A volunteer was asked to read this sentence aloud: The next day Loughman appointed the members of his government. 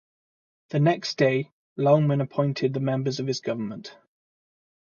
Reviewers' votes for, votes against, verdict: 4, 0, accepted